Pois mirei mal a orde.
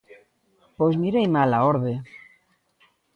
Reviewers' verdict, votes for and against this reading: accepted, 2, 0